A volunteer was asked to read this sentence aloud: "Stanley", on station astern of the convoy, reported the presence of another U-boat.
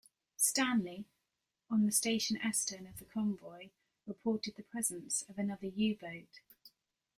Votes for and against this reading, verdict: 1, 2, rejected